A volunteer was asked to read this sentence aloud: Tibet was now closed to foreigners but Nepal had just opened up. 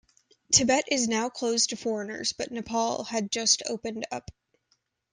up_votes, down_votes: 1, 2